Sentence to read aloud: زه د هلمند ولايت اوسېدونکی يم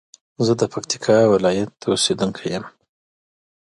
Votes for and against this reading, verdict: 0, 2, rejected